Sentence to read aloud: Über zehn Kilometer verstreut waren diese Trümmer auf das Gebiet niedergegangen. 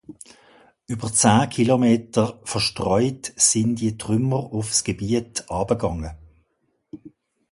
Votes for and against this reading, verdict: 2, 1, accepted